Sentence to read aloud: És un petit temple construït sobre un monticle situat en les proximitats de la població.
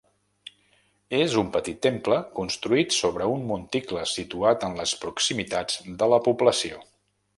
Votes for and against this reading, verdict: 2, 0, accepted